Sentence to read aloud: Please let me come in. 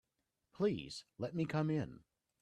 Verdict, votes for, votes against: accepted, 2, 0